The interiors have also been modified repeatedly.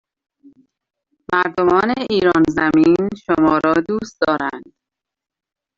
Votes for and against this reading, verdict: 0, 2, rejected